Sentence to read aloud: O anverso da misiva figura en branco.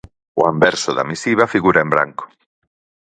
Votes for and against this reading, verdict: 4, 0, accepted